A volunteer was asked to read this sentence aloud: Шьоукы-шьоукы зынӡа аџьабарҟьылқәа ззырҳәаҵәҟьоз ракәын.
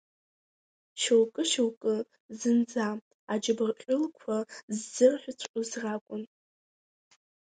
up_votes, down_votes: 0, 2